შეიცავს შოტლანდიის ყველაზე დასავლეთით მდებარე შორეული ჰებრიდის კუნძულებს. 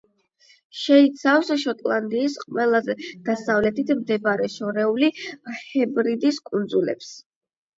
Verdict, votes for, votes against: rejected, 4, 8